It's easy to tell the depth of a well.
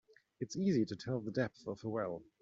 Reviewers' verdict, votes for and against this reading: accepted, 2, 1